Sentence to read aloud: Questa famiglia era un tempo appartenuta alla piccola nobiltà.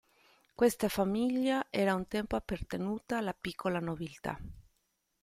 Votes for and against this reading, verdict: 2, 1, accepted